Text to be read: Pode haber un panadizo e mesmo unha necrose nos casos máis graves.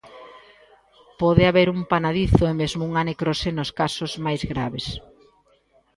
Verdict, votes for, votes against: accepted, 2, 0